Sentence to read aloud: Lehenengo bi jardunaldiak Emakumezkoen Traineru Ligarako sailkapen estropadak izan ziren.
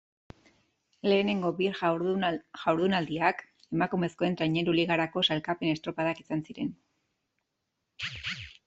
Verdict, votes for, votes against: rejected, 1, 2